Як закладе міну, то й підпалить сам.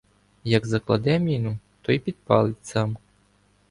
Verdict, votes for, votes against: accepted, 2, 0